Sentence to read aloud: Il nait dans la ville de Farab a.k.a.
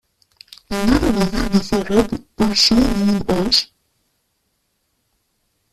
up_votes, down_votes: 0, 2